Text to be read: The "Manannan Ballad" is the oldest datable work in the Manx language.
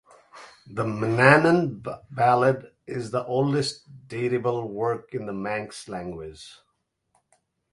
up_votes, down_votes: 0, 2